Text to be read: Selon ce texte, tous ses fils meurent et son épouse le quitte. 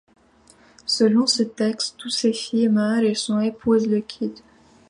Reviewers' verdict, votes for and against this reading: rejected, 1, 2